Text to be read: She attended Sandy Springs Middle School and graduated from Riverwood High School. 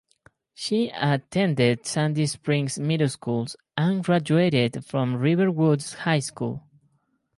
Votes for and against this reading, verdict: 2, 2, rejected